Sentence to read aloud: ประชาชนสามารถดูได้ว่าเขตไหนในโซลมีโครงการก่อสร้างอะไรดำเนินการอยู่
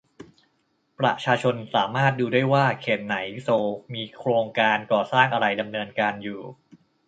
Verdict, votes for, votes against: rejected, 1, 2